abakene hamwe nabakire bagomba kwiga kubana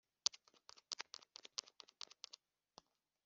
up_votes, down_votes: 0, 3